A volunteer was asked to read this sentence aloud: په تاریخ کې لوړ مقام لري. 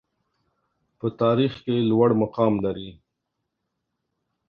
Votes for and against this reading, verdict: 2, 0, accepted